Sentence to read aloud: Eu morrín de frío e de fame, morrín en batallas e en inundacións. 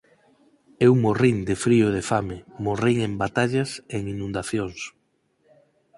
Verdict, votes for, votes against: accepted, 6, 0